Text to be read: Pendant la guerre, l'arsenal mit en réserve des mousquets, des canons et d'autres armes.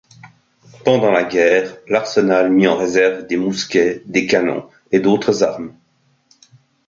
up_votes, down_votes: 2, 0